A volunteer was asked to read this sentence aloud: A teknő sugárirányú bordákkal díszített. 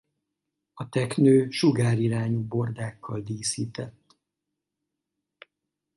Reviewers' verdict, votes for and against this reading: accepted, 4, 0